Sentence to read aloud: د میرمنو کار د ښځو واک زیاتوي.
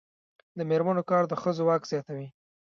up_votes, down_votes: 0, 2